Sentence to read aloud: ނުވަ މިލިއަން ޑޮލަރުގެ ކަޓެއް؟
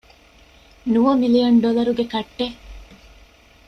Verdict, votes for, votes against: rejected, 0, 2